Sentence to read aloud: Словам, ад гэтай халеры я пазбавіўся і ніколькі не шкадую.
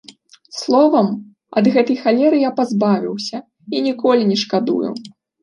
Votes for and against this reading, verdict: 0, 2, rejected